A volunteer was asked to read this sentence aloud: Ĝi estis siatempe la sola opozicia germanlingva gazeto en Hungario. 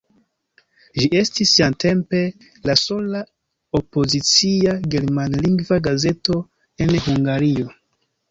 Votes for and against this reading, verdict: 2, 0, accepted